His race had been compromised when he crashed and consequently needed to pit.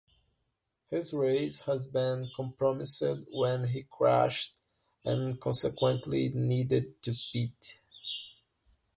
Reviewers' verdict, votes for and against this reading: rejected, 0, 2